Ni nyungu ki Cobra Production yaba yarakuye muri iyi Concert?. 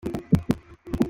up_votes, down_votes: 0, 2